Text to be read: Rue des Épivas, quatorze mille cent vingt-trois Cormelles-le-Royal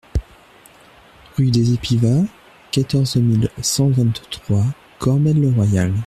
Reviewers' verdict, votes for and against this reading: accepted, 2, 0